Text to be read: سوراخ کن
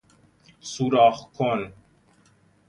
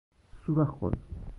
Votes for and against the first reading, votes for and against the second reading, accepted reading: 2, 0, 0, 2, first